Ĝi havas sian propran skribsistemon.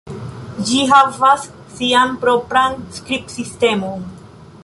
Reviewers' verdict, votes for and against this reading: rejected, 1, 2